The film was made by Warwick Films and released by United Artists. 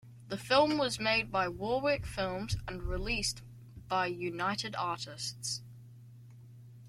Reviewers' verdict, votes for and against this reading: accepted, 2, 1